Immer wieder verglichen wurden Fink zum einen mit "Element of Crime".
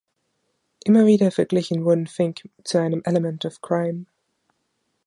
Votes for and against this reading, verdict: 0, 2, rejected